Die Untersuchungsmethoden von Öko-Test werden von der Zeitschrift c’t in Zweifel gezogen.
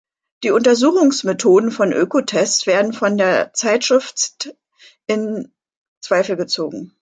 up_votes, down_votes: 0, 2